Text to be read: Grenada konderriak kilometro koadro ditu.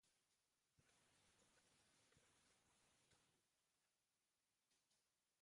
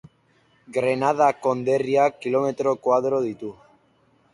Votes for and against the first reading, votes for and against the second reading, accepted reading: 0, 2, 2, 1, second